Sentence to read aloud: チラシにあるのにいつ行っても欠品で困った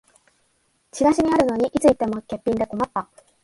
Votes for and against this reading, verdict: 3, 0, accepted